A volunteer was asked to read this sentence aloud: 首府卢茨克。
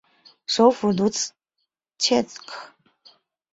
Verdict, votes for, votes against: rejected, 0, 2